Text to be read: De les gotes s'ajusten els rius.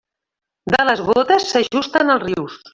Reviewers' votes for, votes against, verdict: 0, 2, rejected